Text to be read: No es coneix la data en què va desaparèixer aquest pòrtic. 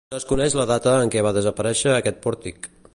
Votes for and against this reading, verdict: 0, 2, rejected